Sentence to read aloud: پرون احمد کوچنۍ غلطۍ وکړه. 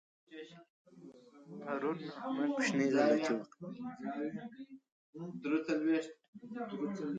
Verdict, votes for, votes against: rejected, 0, 2